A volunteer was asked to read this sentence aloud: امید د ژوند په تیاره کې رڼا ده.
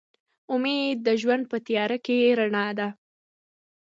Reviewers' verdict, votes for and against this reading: accepted, 2, 0